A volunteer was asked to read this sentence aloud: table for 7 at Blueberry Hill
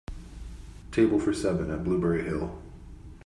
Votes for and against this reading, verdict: 0, 2, rejected